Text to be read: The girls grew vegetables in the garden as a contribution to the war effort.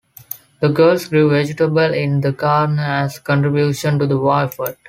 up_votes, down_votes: 3, 0